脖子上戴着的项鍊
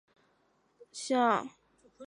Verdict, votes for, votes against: rejected, 1, 2